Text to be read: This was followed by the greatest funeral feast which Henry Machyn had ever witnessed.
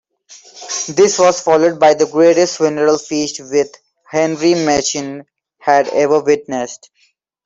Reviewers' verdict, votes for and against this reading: rejected, 1, 2